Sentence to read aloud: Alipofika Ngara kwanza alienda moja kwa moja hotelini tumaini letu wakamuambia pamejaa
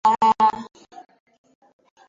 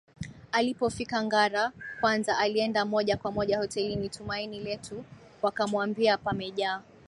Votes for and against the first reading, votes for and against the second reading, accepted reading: 0, 2, 2, 1, second